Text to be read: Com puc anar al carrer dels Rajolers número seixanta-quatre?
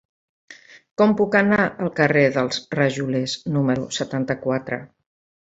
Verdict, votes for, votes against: rejected, 1, 2